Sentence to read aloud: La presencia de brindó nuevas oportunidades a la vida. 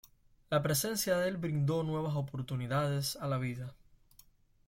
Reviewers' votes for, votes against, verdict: 1, 2, rejected